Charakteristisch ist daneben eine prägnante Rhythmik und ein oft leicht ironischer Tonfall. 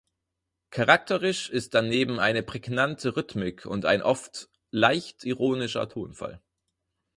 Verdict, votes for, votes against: rejected, 0, 4